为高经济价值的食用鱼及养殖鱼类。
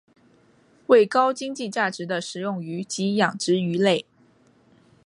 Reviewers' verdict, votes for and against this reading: accepted, 5, 1